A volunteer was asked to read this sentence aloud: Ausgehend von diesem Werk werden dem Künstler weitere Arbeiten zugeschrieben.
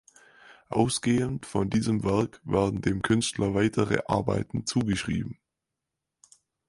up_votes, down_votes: 6, 0